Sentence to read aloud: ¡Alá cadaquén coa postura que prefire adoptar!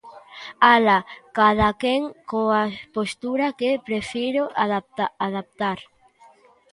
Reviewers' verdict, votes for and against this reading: rejected, 0, 2